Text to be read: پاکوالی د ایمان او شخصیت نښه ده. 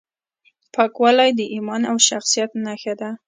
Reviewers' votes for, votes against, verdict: 2, 0, accepted